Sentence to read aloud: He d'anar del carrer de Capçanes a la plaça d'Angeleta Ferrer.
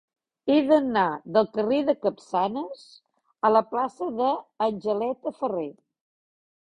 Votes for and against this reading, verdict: 0, 2, rejected